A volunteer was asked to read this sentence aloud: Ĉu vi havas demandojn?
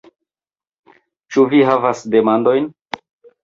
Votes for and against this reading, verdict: 2, 0, accepted